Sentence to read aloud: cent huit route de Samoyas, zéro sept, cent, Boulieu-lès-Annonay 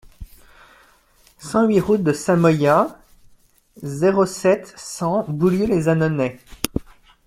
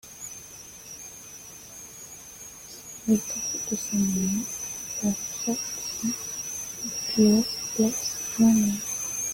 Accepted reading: first